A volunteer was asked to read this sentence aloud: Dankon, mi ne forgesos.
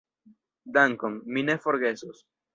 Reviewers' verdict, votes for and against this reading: rejected, 1, 2